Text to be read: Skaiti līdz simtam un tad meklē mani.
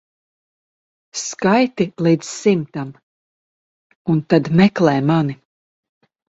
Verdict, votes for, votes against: accepted, 2, 0